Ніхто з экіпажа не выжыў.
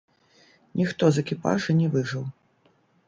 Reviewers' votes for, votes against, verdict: 1, 2, rejected